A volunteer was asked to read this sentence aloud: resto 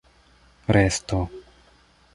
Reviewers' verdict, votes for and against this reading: accepted, 2, 0